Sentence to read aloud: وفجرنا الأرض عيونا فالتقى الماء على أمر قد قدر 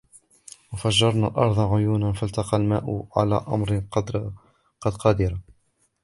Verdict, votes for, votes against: accepted, 2, 0